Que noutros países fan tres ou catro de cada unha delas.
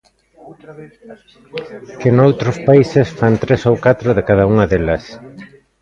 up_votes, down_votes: 1, 2